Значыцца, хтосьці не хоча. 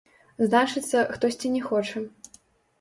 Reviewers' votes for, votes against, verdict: 0, 2, rejected